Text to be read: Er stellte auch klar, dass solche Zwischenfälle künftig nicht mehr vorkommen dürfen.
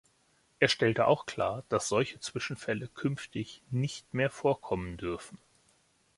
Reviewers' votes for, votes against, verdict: 2, 0, accepted